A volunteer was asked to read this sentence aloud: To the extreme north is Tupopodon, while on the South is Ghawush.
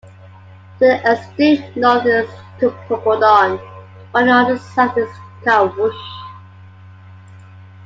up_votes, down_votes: 2, 0